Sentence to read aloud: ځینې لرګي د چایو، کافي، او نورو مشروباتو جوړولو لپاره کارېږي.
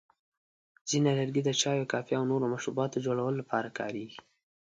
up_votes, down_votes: 2, 0